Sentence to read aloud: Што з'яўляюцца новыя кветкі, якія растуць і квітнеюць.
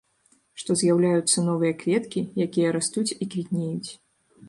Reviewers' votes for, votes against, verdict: 2, 0, accepted